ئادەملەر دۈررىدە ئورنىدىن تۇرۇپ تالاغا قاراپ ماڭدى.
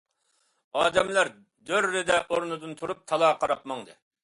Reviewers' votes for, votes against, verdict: 2, 0, accepted